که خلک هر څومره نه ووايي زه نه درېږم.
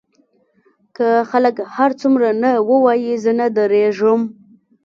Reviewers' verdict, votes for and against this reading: accepted, 2, 0